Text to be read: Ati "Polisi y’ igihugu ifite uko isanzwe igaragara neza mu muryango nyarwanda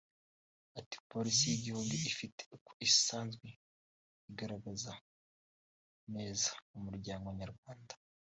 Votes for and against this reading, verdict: 1, 2, rejected